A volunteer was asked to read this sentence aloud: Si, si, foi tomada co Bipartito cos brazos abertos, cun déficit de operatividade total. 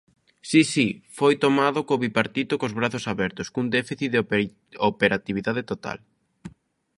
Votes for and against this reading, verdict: 0, 2, rejected